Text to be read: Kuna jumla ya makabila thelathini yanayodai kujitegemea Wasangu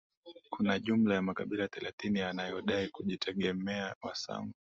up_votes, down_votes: 2, 1